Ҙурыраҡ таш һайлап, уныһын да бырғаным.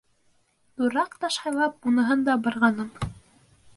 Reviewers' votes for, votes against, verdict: 2, 0, accepted